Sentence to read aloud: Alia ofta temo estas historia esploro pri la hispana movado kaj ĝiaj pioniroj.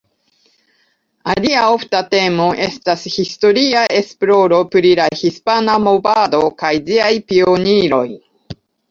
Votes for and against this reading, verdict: 2, 0, accepted